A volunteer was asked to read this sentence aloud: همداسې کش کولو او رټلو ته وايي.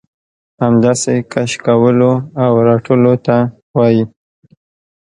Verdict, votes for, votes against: accepted, 2, 0